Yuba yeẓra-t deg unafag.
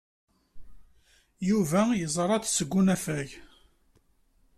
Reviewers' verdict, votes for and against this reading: rejected, 1, 2